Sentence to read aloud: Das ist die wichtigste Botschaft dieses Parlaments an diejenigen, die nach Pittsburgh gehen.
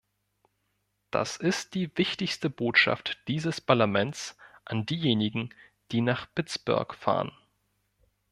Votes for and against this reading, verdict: 0, 2, rejected